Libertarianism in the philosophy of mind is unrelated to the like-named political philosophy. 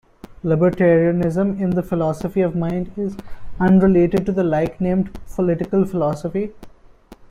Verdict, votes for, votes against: accepted, 2, 0